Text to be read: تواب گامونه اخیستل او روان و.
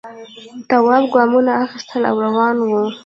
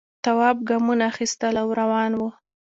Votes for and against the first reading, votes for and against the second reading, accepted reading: 0, 2, 2, 0, second